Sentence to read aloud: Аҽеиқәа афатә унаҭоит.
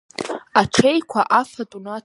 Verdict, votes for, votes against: rejected, 0, 3